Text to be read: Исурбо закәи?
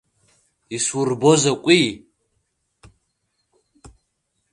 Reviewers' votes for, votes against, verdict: 2, 0, accepted